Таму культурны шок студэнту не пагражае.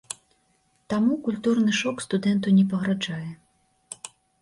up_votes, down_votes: 0, 2